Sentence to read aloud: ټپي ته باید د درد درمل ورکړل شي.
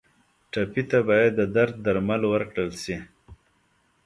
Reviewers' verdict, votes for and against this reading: accepted, 2, 0